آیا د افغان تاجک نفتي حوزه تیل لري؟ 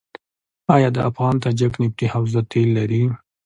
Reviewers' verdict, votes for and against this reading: accepted, 2, 0